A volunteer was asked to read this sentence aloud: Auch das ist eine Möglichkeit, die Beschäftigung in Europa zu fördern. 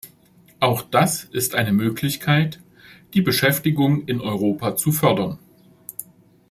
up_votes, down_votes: 2, 0